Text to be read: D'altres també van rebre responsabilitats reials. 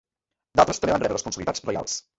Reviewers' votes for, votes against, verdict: 0, 3, rejected